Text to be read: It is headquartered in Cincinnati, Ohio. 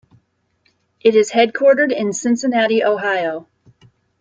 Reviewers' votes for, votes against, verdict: 2, 0, accepted